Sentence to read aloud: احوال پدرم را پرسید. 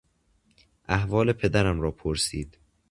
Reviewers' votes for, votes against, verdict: 2, 0, accepted